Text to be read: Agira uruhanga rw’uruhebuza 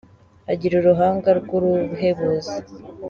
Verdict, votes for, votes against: accepted, 2, 1